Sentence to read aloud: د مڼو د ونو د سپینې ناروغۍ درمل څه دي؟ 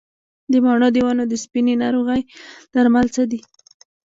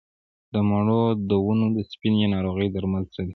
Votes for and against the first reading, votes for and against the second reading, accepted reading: 0, 2, 3, 1, second